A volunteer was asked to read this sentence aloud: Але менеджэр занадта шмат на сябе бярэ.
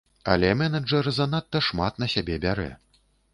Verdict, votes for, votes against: accepted, 2, 0